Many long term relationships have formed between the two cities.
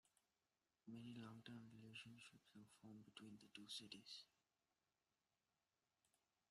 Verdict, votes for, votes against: rejected, 0, 2